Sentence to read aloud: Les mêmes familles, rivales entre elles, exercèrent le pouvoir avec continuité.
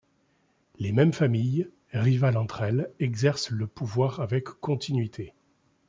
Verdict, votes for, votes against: rejected, 0, 2